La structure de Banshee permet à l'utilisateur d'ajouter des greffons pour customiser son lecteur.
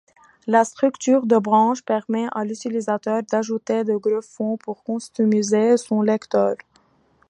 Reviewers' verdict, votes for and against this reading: rejected, 1, 2